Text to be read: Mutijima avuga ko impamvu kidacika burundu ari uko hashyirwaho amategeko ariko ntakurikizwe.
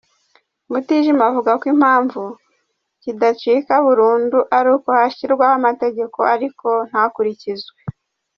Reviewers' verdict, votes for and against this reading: accepted, 2, 0